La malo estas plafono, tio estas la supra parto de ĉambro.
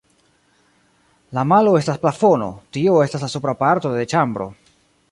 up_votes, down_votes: 2, 1